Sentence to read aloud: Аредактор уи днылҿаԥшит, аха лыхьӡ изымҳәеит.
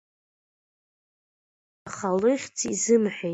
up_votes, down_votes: 1, 2